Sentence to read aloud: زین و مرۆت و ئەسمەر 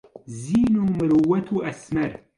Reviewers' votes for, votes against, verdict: 2, 0, accepted